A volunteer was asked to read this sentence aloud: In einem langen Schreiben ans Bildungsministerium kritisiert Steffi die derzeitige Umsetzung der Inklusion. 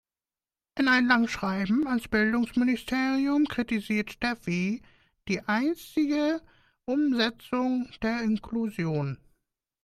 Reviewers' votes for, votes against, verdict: 0, 2, rejected